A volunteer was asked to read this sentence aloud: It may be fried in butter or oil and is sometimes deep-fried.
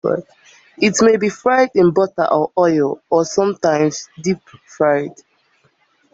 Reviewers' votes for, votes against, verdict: 0, 2, rejected